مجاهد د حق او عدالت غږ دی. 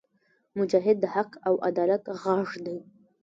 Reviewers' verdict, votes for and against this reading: rejected, 1, 2